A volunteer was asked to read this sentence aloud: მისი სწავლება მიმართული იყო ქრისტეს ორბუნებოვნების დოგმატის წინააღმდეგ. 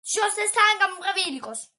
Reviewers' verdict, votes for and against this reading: rejected, 0, 2